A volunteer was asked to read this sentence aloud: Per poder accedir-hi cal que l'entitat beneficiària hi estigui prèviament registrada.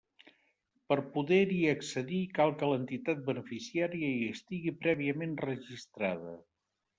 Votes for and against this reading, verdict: 0, 2, rejected